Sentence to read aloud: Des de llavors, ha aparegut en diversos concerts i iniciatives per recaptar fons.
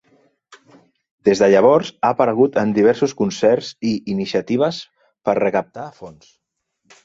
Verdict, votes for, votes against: accepted, 3, 0